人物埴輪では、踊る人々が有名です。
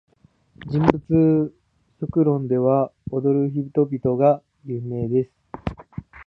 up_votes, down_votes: 0, 2